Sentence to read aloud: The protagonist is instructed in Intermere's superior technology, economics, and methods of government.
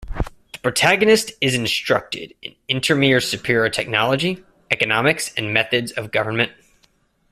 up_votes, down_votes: 0, 2